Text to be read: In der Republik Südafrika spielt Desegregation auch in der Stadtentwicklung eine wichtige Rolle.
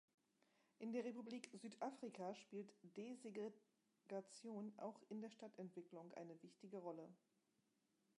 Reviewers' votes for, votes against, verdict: 1, 2, rejected